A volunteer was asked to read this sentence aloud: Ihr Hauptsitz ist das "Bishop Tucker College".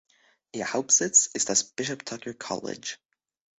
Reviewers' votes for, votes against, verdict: 2, 0, accepted